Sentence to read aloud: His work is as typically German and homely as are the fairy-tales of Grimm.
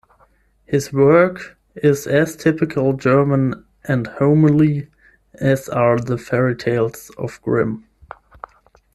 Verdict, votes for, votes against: rejected, 0, 10